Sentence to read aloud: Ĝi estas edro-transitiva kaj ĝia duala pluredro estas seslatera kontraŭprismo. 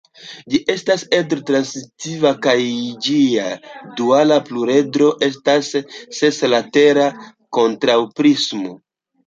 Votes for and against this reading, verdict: 2, 0, accepted